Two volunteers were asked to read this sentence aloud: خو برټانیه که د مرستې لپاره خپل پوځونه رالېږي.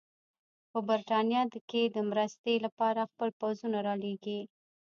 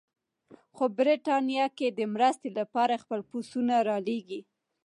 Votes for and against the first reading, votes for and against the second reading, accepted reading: 0, 2, 2, 0, second